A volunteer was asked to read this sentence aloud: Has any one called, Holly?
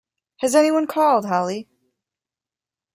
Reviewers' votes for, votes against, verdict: 2, 0, accepted